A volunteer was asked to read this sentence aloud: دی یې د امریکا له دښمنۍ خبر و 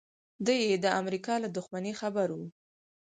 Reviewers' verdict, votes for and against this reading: rejected, 0, 4